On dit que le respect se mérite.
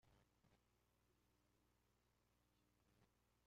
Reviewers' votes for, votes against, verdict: 0, 2, rejected